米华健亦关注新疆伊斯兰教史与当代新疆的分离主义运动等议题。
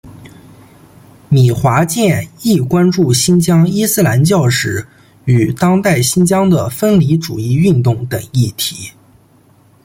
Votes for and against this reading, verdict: 2, 0, accepted